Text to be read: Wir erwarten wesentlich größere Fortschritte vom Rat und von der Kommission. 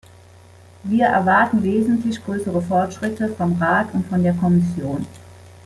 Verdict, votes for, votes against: accepted, 2, 0